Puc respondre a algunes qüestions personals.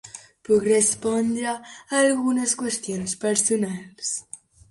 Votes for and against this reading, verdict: 2, 0, accepted